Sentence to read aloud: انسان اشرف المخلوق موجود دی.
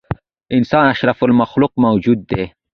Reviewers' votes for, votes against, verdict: 2, 1, accepted